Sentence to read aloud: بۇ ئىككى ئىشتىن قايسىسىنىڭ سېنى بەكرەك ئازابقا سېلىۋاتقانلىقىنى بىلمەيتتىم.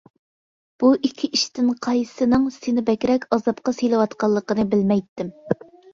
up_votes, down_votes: 2, 0